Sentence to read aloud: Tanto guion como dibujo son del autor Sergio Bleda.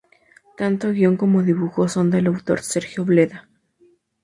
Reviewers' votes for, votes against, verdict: 0, 2, rejected